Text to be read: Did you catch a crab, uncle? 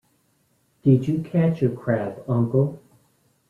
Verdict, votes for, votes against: rejected, 0, 2